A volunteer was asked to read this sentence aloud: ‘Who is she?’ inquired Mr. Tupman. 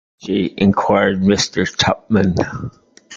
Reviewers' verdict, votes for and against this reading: rejected, 0, 2